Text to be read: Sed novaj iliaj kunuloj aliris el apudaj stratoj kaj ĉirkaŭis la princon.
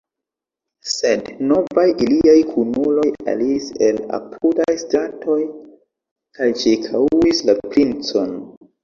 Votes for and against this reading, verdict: 2, 0, accepted